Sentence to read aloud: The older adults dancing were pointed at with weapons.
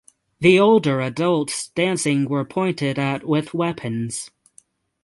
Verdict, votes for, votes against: rejected, 3, 3